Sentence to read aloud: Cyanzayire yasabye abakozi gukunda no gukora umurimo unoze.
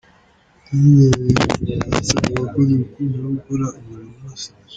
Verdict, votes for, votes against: rejected, 0, 2